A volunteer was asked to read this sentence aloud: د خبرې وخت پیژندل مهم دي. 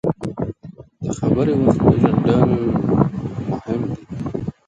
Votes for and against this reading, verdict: 0, 2, rejected